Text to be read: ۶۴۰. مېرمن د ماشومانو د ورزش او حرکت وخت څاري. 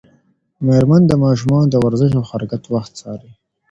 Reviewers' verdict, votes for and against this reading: rejected, 0, 2